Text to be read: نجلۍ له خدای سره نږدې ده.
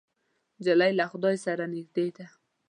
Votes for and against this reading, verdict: 2, 0, accepted